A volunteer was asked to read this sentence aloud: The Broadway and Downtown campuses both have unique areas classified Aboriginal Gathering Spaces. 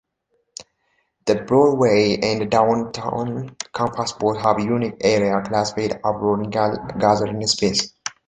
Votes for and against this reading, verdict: 0, 2, rejected